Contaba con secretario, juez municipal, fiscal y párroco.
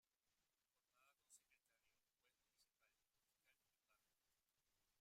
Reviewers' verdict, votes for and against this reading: rejected, 0, 2